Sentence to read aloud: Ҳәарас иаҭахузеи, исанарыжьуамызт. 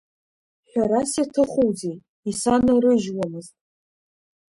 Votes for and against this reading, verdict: 1, 2, rejected